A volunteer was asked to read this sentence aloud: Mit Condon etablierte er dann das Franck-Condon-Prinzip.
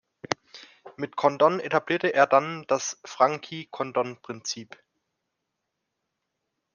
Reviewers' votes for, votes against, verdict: 1, 3, rejected